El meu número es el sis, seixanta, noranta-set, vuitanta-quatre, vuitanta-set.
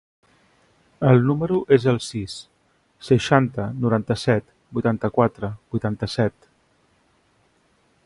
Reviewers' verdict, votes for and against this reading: rejected, 0, 2